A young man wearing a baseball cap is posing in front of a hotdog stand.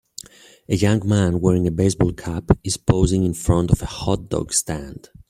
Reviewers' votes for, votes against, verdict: 2, 0, accepted